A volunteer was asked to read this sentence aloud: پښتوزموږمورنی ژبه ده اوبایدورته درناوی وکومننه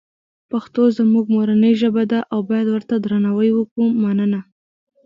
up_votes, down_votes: 2, 0